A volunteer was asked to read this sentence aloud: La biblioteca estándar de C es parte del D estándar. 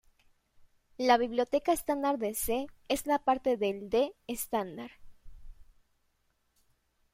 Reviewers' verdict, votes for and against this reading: rejected, 1, 2